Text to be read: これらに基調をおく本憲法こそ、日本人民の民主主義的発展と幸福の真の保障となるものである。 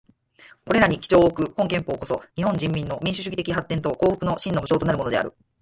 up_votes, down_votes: 4, 2